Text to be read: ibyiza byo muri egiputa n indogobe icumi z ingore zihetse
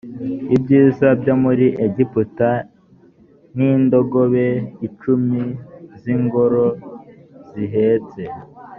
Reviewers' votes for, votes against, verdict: 1, 2, rejected